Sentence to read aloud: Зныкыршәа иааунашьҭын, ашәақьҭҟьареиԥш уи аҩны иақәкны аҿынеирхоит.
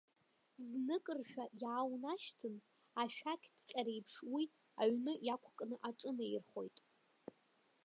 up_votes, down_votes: 0, 2